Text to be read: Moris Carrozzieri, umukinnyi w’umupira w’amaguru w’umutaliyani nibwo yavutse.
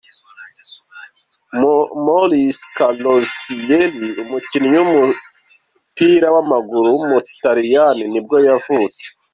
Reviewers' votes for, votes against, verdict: 2, 0, accepted